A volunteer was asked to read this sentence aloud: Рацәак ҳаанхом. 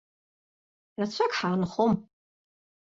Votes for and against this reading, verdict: 2, 0, accepted